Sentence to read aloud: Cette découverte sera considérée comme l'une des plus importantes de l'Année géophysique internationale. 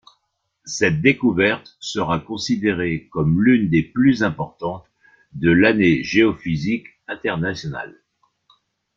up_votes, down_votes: 2, 0